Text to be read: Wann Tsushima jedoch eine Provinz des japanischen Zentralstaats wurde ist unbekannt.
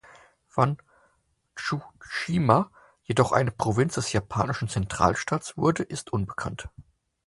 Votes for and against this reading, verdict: 4, 2, accepted